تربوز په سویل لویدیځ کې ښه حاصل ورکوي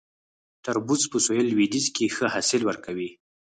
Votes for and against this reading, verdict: 2, 4, rejected